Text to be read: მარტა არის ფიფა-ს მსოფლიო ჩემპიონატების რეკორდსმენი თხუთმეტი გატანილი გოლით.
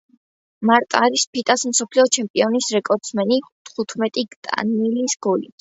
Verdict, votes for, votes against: rejected, 0, 2